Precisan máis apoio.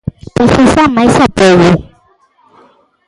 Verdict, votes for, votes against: rejected, 1, 2